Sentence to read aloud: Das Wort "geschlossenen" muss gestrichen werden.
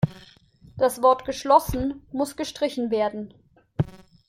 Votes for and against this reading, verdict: 1, 2, rejected